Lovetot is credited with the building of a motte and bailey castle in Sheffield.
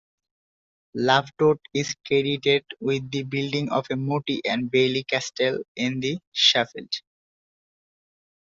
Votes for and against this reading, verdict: 0, 2, rejected